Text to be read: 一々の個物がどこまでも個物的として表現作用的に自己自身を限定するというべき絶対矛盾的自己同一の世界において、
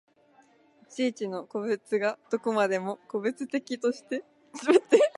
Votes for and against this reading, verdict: 0, 6, rejected